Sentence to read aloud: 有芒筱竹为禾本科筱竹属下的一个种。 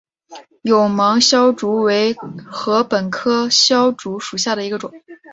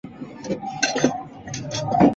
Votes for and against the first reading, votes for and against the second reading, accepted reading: 3, 0, 1, 2, first